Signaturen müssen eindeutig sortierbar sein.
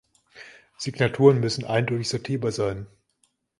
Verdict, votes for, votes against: accepted, 2, 0